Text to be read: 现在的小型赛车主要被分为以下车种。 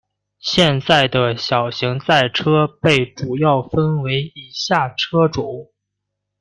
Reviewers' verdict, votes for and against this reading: rejected, 0, 2